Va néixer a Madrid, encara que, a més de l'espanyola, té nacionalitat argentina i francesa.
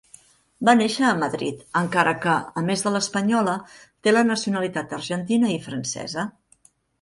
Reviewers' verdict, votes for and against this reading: rejected, 1, 2